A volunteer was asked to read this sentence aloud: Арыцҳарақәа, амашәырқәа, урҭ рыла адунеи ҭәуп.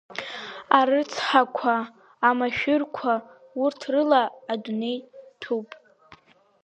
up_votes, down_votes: 1, 3